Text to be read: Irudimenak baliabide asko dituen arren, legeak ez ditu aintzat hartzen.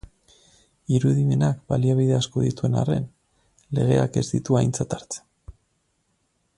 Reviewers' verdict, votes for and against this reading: accepted, 4, 0